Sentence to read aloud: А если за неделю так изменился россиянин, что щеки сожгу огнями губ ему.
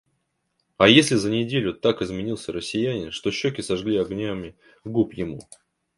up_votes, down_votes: 1, 2